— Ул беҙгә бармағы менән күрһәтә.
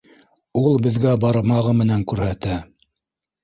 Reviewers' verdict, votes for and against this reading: rejected, 1, 2